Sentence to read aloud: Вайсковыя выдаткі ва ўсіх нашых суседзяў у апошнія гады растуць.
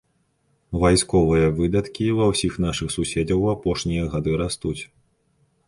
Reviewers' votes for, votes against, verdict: 0, 2, rejected